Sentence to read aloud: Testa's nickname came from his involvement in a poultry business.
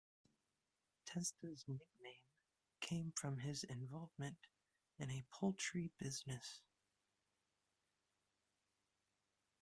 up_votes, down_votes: 1, 2